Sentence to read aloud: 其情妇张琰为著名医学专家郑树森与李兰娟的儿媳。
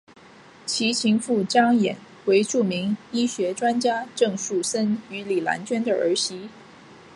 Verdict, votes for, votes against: accepted, 2, 0